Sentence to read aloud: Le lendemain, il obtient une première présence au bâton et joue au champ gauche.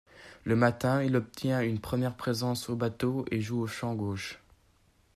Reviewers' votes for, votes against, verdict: 0, 2, rejected